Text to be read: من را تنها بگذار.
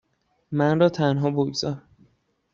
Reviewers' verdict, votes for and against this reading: accepted, 2, 0